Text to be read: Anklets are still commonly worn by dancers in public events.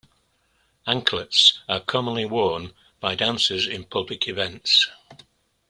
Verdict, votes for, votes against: rejected, 0, 2